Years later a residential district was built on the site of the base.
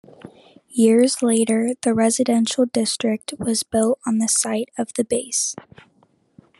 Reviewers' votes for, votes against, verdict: 1, 2, rejected